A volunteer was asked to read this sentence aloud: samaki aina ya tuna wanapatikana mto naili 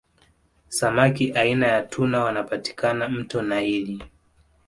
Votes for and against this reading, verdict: 2, 0, accepted